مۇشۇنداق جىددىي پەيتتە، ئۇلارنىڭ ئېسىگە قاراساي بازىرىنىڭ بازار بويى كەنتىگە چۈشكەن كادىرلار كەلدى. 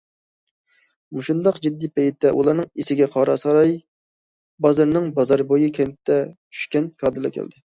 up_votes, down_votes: 0, 2